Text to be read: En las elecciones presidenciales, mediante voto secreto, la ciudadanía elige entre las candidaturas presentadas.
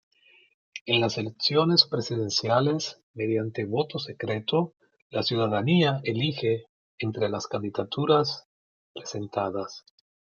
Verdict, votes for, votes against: accepted, 2, 0